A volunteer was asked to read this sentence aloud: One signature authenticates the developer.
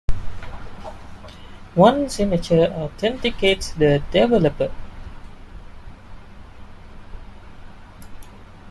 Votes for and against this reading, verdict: 1, 2, rejected